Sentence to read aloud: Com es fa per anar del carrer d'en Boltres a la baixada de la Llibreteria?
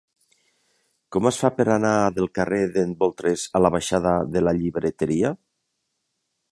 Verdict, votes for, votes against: accepted, 2, 0